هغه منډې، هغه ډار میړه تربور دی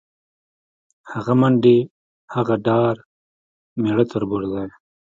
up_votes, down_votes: 1, 2